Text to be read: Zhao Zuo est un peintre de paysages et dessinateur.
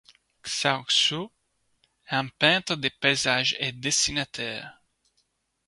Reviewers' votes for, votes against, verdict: 0, 2, rejected